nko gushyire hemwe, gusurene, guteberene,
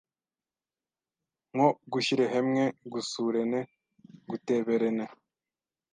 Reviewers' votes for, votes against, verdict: 1, 2, rejected